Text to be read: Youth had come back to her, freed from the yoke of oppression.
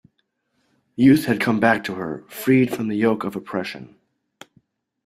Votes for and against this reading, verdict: 2, 0, accepted